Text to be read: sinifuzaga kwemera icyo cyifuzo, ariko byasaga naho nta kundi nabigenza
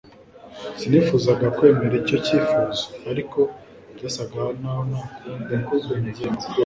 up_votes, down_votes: 0, 2